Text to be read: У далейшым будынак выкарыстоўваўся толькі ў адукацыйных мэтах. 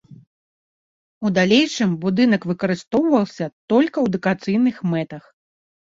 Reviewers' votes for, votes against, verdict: 0, 2, rejected